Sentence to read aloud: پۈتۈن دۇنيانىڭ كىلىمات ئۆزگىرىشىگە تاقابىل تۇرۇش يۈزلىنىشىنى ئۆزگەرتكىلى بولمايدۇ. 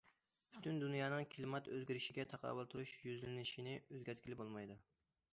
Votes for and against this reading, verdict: 2, 0, accepted